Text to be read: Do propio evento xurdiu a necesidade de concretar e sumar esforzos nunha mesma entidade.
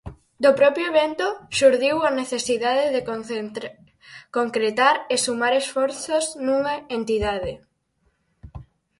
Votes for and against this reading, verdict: 0, 4, rejected